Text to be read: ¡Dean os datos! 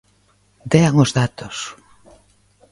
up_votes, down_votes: 2, 0